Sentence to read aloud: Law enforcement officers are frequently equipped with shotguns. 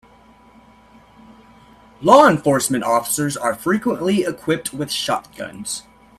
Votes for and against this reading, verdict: 2, 0, accepted